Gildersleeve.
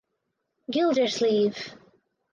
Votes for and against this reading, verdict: 4, 0, accepted